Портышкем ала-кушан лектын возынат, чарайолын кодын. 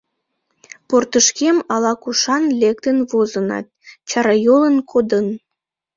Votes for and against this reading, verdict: 1, 2, rejected